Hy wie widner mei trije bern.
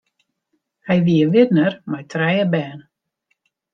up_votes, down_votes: 1, 2